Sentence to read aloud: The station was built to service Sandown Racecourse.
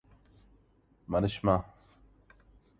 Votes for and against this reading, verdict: 0, 2, rejected